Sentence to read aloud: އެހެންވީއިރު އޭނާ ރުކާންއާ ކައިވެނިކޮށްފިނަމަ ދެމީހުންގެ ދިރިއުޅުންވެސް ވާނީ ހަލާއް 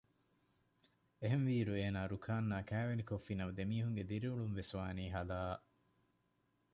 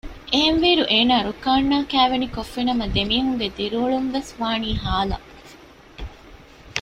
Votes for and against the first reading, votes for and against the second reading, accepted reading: 2, 0, 1, 2, first